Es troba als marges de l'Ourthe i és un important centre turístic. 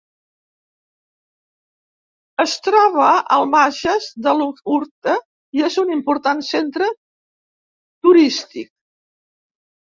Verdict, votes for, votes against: rejected, 0, 2